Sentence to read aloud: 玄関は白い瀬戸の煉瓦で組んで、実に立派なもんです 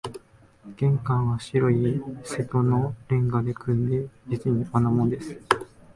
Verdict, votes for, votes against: rejected, 1, 2